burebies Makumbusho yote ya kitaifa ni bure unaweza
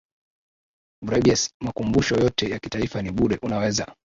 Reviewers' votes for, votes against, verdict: 2, 0, accepted